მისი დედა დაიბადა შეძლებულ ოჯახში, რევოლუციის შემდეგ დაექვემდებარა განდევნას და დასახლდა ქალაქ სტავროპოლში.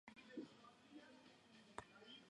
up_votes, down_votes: 0, 2